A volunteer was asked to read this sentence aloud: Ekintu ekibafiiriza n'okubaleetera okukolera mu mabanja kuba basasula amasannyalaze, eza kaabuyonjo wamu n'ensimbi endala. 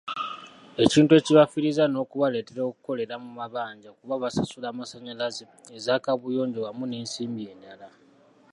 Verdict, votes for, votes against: accepted, 2, 0